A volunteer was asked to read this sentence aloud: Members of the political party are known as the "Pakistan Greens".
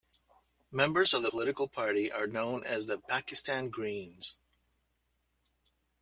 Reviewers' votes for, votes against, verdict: 2, 0, accepted